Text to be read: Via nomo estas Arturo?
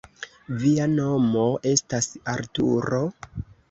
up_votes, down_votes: 1, 2